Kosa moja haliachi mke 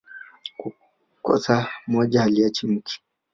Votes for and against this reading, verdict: 0, 2, rejected